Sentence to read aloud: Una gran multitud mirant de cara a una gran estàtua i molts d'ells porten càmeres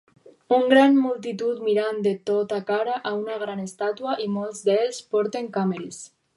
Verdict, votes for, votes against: rejected, 0, 4